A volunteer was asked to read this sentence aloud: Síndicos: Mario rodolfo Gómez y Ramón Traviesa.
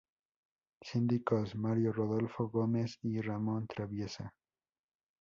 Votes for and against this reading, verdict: 2, 0, accepted